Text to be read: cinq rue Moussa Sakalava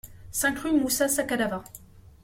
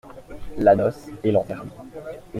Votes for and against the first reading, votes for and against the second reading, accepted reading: 2, 0, 0, 2, first